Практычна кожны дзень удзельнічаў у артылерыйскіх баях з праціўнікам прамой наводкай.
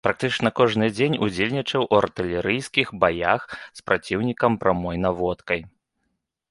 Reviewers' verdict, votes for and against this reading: accepted, 2, 0